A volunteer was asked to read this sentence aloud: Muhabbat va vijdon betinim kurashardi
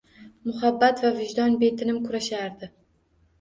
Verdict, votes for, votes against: accepted, 2, 0